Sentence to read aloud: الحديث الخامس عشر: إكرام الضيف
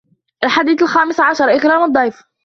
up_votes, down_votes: 0, 2